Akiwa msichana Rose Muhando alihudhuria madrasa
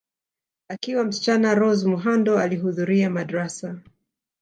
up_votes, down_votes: 2, 0